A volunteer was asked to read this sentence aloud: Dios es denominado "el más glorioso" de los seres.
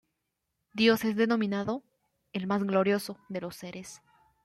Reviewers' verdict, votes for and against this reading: accepted, 2, 0